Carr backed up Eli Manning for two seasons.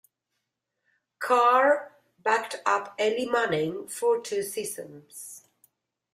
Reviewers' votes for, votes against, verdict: 1, 2, rejected